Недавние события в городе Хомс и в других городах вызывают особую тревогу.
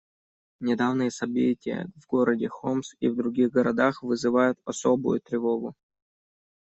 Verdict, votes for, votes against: rejected, 0, 2